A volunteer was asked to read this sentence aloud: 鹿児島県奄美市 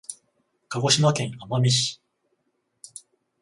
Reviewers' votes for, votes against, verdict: 14, 0, accepted